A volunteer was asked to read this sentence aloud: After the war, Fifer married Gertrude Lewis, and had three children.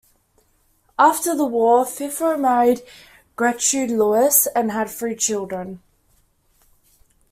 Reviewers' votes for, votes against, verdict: 1, 2, rejected